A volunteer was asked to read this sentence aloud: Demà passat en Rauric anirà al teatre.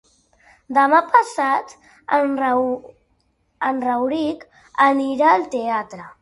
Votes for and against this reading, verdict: 1, 3, rejected